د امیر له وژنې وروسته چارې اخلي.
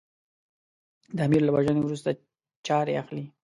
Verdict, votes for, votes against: accepted, 2, 0